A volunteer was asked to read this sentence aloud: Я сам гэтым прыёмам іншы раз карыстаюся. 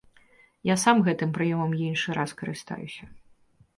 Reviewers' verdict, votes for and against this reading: accepted, 2, 0